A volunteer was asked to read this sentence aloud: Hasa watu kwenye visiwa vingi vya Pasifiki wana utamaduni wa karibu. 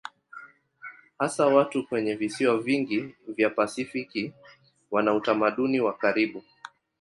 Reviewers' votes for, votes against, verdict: 12, 0, accepted